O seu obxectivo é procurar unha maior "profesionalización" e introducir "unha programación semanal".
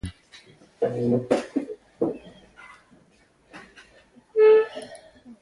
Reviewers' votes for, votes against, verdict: 0, 2, rejected